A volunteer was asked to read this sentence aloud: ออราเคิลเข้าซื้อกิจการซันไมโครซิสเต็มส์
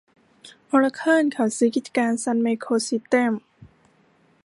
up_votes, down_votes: 2, 3